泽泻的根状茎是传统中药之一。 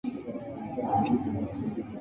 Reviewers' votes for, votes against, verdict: 2, 4, rejected